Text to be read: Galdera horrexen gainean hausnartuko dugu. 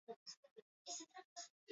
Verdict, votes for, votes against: rejected, 0, 2